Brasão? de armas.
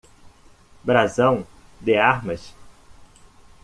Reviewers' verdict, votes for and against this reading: accepted, 2, 0